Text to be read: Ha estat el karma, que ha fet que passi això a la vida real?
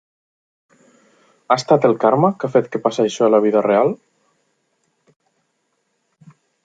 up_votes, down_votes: 2, 0